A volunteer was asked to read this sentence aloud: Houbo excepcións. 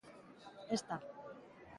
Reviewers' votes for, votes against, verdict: 0, 2, rejected